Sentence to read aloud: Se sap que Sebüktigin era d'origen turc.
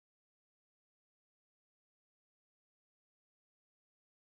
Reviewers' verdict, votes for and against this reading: rejected, 1, 3